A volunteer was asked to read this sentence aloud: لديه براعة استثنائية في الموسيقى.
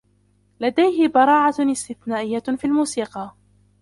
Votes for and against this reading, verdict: 0, 2, rejected